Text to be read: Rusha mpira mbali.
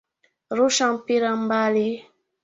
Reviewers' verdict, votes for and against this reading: accepted, 2, 1